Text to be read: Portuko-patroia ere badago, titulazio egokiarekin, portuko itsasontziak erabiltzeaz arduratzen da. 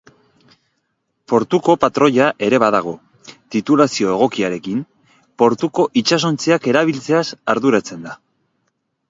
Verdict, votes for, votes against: rejected, 0, 2